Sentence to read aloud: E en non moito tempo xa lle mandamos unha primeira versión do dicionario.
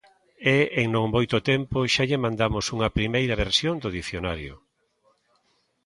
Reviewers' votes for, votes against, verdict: 2, 0, accepted